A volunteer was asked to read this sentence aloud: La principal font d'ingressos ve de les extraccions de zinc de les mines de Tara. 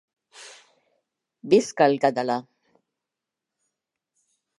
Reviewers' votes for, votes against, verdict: 0, 2, rejected